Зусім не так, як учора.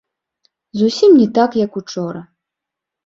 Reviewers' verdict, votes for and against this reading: accepted, 2, 0